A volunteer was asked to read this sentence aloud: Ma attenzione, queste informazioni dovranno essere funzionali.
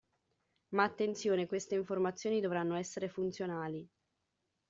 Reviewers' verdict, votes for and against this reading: accepted, 2, 0